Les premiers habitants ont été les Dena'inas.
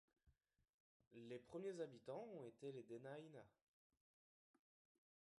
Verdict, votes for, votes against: rejected, 0, 2